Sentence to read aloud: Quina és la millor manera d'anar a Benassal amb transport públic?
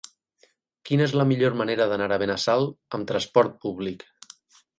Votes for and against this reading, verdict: 0, 8, rejected